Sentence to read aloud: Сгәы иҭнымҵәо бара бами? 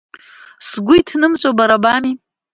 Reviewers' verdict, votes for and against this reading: accepted, 2, 0